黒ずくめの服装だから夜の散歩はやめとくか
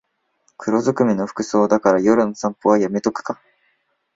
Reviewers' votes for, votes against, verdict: 2, 0, accepted